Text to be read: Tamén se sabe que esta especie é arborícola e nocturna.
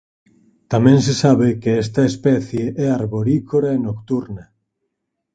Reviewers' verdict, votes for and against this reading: rejected, 0, 4